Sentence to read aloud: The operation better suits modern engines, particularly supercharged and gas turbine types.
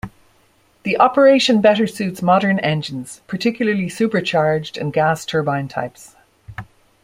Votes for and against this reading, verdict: 2, 0, accepted